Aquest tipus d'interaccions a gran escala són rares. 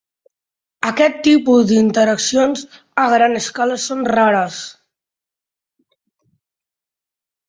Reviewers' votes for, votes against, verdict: 2, 0, accepted